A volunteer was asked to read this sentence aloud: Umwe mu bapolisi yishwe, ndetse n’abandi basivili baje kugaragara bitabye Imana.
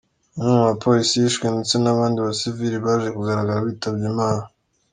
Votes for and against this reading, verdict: 2, 0, accepted